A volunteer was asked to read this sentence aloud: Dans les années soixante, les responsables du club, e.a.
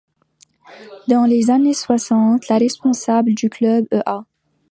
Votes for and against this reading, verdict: 2, 1, accepted